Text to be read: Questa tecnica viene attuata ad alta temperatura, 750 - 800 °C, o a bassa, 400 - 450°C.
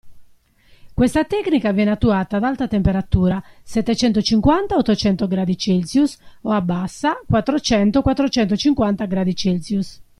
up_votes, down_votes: 0, 2